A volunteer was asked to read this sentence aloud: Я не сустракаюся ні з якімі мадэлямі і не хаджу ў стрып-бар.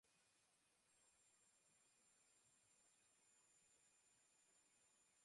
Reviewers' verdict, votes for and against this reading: rejected, 0, 2